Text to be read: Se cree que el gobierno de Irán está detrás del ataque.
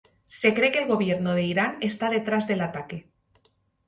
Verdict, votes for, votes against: accepted, 2, 0